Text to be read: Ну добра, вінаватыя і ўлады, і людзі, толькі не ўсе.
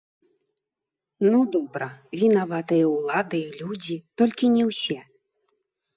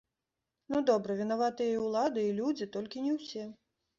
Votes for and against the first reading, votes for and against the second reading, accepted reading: 1, 2, 2, 0, second